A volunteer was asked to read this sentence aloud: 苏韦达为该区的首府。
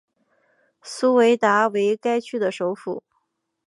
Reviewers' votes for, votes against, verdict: 2, 0, accepted